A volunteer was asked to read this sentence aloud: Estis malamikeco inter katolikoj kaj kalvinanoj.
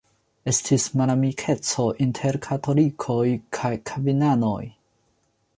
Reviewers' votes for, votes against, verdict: 2, 0, accepted